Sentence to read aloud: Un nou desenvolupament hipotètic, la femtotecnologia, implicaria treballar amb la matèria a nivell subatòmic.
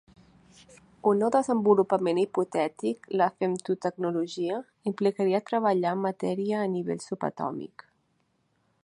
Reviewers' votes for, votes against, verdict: 1, 2, rejected